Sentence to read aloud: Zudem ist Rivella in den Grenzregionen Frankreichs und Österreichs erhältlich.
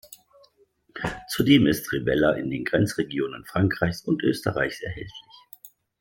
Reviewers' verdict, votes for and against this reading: accepted, 2, 0